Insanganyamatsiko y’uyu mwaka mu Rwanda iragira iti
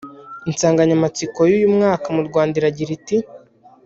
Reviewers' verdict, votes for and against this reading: accepted, 2, 0